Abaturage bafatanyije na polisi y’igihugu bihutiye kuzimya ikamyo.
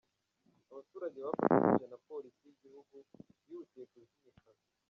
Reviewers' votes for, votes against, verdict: 0, 2, rejected